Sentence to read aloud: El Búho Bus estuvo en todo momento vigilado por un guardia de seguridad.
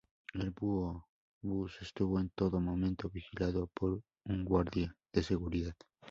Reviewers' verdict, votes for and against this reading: rejected, 0, 2